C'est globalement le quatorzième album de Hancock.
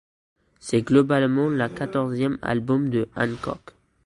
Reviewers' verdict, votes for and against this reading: rejected, 1, 2